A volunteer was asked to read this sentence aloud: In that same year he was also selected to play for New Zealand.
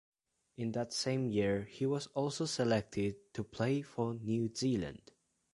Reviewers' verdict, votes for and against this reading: accepted, 2, 0